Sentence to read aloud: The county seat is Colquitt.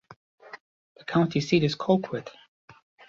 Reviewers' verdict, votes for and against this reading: rejected, 1, 2